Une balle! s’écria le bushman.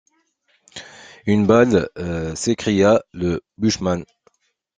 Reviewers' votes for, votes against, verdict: 2, 1, accepted